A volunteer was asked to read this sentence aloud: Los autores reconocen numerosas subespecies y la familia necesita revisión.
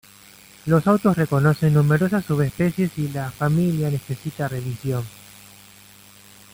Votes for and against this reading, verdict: 0, 2, rejected